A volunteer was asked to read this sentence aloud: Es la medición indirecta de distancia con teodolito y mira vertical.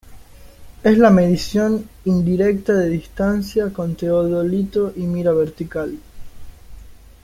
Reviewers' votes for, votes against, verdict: 2, 0, accepted